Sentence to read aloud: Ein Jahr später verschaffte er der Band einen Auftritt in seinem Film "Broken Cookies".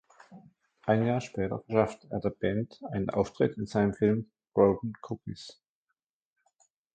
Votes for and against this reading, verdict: 0, 2, rejected